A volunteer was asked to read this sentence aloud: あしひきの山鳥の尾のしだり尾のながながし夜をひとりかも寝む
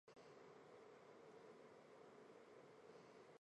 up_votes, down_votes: 0, 3